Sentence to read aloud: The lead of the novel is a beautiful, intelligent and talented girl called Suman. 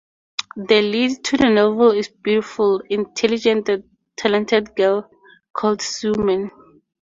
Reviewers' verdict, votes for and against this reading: rejected, 0, 2